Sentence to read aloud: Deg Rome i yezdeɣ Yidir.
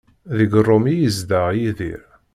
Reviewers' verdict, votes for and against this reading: accepted, 2, 0